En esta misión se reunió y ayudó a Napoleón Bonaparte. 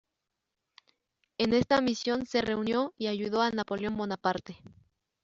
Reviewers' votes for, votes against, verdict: 2, 0, accepted